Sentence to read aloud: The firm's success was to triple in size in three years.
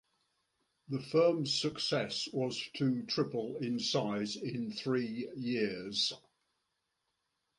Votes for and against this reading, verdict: 2, 0, accepted